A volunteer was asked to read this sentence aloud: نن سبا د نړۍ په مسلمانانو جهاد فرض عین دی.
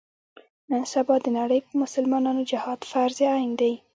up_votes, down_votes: 1, 2